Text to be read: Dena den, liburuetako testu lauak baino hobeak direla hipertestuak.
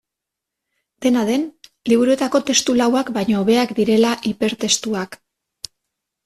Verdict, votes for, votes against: accepted, 2, 0